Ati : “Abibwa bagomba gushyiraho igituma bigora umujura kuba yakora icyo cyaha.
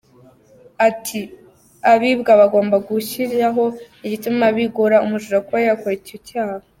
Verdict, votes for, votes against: accepted, 2, 0